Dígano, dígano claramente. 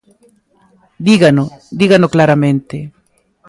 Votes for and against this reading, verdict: 2, 0, accepted